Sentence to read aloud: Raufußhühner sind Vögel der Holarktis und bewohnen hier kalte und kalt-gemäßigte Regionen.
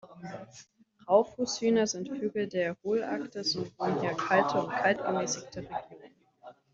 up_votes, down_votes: 0, 2